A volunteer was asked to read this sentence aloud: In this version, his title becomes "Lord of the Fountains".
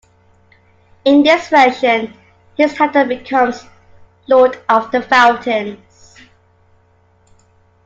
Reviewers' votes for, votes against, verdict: 2, 1, accepted